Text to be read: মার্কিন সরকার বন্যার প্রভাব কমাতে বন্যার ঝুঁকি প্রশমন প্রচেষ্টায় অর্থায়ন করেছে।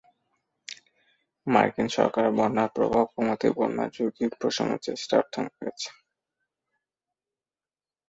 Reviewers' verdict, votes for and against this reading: rejected, 1, 5